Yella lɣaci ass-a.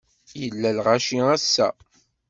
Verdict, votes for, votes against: accepted, 2, 0